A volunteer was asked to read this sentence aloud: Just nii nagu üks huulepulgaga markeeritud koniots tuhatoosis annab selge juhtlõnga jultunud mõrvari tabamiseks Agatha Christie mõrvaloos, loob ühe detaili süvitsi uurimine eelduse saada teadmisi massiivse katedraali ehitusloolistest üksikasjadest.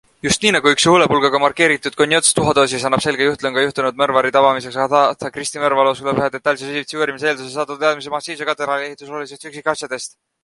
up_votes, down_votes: 0, 2